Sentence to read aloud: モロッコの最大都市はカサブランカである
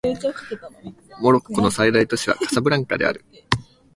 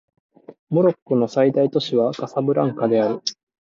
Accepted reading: second